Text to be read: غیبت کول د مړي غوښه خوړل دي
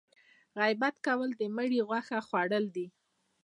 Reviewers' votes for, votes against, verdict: 2, 0, accepted